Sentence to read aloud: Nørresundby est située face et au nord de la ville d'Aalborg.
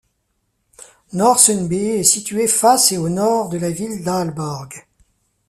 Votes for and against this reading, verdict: 2, 0, accepted